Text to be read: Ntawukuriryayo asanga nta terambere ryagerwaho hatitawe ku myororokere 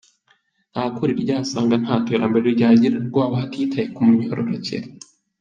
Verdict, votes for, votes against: accepted, 3, 0